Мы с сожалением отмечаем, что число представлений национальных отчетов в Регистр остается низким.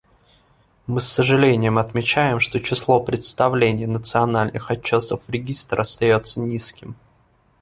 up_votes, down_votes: 1, 2